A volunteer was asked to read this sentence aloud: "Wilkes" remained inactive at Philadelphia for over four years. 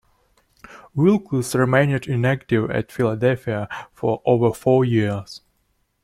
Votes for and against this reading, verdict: 1, 2, rejected